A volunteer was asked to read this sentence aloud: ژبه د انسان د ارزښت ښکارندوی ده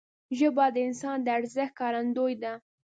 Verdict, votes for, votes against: accepted, 2, 0